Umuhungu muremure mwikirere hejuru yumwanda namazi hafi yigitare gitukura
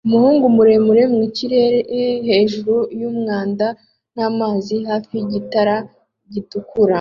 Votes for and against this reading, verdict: 2, 1, accepted